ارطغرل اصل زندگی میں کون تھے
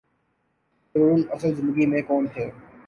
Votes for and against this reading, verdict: 2, 2, rejected